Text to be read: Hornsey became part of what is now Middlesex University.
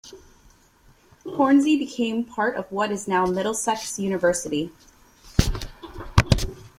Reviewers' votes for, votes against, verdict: 2, 0, accepted